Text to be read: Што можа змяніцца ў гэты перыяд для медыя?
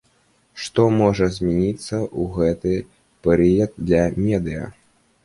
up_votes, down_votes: 2, 0